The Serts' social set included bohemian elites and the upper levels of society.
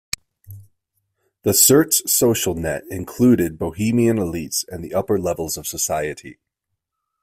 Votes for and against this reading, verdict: 1, 2, rejected